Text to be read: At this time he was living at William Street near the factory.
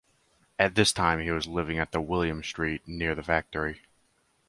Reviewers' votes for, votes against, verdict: 2, 2, rejected